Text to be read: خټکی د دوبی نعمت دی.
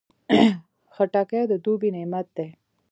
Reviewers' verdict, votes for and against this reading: rejected, 1, 2